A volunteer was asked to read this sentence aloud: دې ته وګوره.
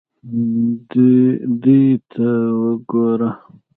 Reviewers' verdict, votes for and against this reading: rejected, 1, 2